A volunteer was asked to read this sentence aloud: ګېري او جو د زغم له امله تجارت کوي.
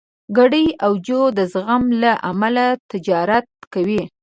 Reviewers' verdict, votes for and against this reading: accepted, 2, 1